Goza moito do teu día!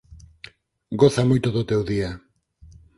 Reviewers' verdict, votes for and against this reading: accepted, 4, 0